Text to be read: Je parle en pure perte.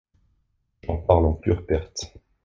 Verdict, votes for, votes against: rejected, 1, 2